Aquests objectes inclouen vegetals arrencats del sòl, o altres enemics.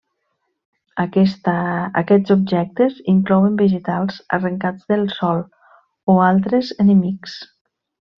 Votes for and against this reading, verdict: 1, 2, rejected